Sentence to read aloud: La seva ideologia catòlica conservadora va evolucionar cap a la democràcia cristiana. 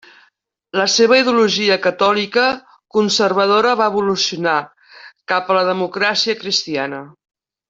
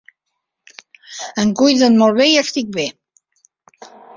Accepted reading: first